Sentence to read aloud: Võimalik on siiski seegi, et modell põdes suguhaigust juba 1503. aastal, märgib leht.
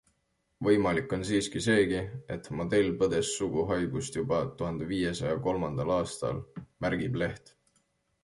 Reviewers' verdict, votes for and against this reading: rejected, 0, 2